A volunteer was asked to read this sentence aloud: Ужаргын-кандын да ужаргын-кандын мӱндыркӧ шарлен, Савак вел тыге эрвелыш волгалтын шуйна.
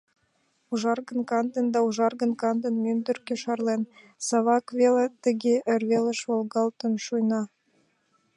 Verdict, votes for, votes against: rejected, 2, 3